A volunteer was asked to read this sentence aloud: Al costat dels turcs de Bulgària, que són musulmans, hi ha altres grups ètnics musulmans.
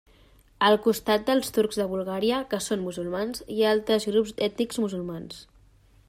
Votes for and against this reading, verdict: 1, 2, rejected